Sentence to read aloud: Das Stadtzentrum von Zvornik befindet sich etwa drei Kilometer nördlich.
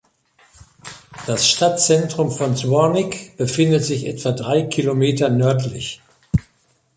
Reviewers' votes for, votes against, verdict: 2, 0, accepted